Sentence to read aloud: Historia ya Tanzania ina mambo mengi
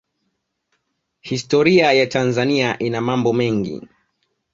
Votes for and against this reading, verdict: 2, 0, accepted